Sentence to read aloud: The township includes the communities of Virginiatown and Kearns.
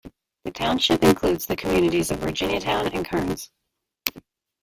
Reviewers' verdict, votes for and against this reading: accepted, 2, 0